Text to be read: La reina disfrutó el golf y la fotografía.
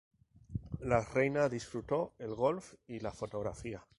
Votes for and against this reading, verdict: 0, 2, rejected